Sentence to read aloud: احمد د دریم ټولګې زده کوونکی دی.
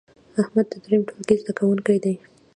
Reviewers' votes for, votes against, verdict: 2, 0, accepted